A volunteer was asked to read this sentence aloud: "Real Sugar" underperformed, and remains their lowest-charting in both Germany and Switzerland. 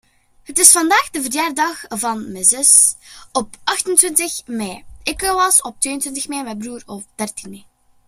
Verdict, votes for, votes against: rejected, 0, 2